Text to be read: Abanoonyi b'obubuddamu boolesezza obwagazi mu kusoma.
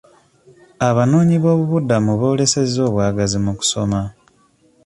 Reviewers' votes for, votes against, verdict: 2, 0, accepted